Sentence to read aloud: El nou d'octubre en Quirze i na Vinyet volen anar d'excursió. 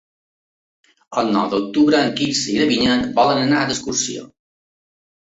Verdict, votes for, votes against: rejected, 1, 2